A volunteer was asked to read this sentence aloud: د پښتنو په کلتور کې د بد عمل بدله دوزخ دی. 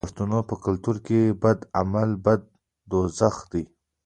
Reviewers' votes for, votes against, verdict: 2, 1, accepted